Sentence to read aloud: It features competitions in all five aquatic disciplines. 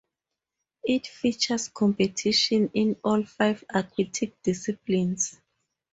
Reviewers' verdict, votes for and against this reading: rejected, 0, 8